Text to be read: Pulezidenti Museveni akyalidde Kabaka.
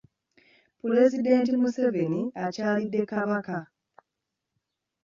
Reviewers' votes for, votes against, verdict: 0, 2, rejected